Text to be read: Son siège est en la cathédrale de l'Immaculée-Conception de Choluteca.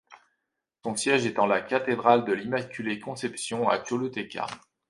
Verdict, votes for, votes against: rejected, 0, 2